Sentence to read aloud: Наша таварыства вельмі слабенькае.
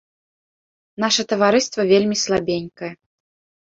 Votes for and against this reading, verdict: 2, 0, accepted